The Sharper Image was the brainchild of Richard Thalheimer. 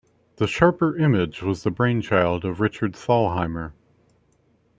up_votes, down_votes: 2, 0